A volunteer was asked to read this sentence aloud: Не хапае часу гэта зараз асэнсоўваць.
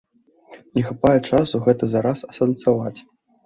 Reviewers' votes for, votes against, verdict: 0, 2, rejected